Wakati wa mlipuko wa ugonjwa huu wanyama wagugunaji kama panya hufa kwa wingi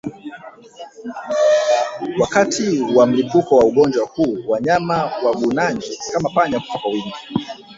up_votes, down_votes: 2, 0